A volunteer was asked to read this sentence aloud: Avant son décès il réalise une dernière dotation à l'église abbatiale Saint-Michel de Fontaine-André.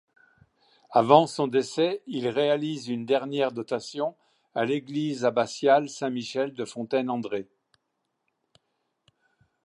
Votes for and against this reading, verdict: 2, 0, accepted